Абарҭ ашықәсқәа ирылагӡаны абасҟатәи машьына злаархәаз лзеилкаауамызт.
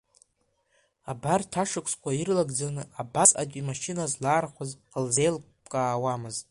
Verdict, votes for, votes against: rejected, 0, 2